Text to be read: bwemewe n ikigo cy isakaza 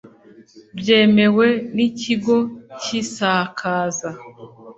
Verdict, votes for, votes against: rejected, 1, 2